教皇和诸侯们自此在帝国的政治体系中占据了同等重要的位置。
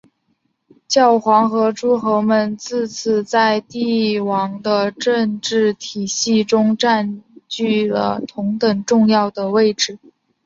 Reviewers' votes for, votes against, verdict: 2, 1, accepted